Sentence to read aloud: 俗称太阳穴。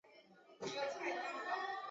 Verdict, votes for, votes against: rejected, 0, 2